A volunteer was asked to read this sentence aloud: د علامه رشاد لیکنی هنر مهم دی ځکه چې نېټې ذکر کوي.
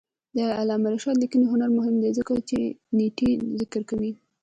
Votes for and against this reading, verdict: 1, 2, rejected